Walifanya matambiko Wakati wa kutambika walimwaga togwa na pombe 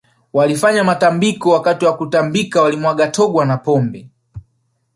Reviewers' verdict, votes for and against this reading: rejected, 1, 2